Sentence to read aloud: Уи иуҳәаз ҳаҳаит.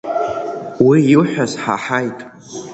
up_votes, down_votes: 2, 0